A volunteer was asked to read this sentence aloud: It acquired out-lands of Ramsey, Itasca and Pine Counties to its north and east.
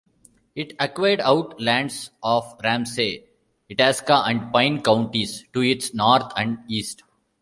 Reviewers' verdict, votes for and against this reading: accepted, 2, 0